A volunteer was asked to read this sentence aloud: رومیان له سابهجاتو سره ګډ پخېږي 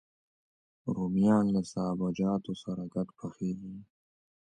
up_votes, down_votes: 1, 2